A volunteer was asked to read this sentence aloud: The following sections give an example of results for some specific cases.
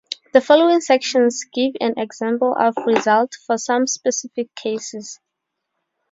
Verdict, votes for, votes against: accepted, 4, 0